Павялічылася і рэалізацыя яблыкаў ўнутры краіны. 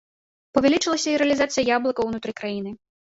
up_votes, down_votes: 1, 2